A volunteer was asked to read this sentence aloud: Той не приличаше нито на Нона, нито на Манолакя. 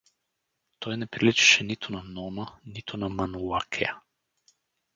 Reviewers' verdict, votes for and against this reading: rejected, 2, 2